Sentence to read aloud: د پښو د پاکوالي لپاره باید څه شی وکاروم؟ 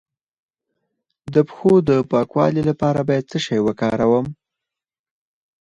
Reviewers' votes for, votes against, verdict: 2, 4, rejected